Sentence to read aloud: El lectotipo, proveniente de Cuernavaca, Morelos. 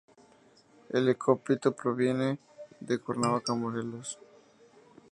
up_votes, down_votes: 0, 2